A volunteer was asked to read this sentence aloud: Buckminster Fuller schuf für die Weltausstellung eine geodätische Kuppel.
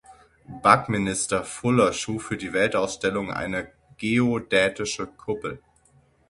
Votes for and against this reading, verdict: 0, 6, rejected